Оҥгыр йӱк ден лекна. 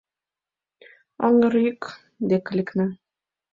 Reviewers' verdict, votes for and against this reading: rejected, 1, 3